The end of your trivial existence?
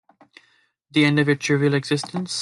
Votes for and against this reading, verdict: 2, 0, accepted